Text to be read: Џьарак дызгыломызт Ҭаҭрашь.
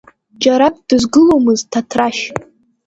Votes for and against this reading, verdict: 2, 0, accepted